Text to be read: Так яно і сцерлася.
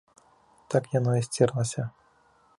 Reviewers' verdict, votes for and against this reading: accepted, 2, 0